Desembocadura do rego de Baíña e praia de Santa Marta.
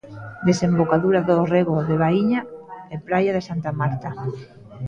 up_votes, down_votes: 1, 2